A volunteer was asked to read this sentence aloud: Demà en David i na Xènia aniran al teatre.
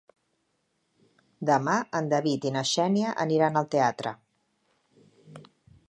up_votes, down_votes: 4, 0